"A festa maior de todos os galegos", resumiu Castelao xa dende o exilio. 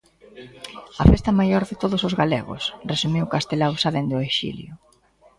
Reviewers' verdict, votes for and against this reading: rejected, 0, 2